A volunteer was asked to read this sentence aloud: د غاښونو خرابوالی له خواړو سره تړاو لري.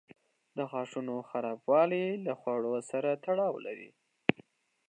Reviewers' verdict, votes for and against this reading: rejected, 0, 2